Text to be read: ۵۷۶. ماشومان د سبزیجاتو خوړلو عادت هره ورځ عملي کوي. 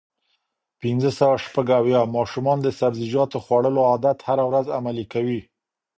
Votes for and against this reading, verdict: 0, 2, rejected